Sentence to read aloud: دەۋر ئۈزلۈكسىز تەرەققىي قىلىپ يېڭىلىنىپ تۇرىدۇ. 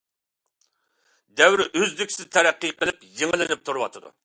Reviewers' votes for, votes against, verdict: 2, 1, accepted